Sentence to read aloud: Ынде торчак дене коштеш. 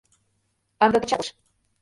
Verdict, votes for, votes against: rejected, 0, 2